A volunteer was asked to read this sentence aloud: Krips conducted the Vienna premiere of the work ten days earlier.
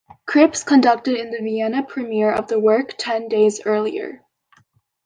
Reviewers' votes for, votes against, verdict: 0, 2, rejected